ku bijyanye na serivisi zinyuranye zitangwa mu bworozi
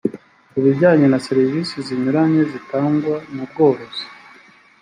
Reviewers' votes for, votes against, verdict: 3, 0, accepted